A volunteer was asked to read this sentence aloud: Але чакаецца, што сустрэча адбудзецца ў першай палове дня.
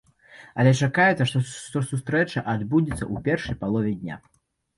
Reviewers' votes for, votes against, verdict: 1, 2, rejected